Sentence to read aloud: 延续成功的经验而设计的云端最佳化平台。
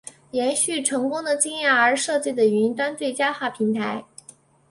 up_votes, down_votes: 2, 0